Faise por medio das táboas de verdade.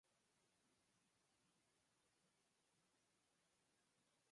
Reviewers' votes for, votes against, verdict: 0, 4, rejected